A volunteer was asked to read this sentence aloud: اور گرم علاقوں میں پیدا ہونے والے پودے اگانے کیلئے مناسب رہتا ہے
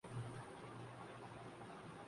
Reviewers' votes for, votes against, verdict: 0, 3, rejected